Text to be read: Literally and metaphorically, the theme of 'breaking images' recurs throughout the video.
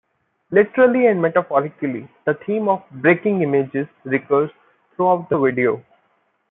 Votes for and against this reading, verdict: 1, 2, rejected